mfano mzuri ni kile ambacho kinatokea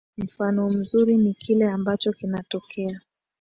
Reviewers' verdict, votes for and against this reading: accepted, 3, 2